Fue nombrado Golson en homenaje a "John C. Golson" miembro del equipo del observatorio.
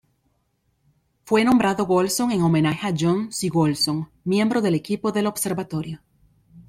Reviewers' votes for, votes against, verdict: 2, 0, accepted